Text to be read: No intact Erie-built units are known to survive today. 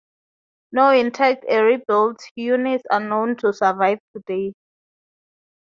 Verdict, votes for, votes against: accepted, 2, 0